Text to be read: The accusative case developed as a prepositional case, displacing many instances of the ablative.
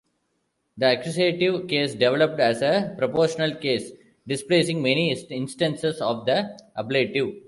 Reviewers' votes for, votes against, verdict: 0, 2, rejected